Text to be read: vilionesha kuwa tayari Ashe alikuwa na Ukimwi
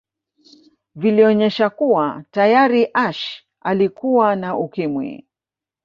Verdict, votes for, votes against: accepted, 4, 0